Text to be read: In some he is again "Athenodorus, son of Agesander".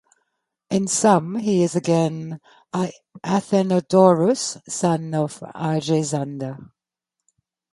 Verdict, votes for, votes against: rejected, 0, 2